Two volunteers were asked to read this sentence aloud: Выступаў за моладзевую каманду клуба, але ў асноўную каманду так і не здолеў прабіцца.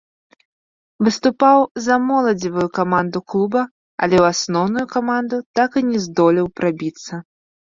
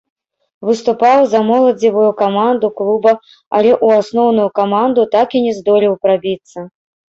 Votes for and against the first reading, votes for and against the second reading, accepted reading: 3, 0, 1, 2, first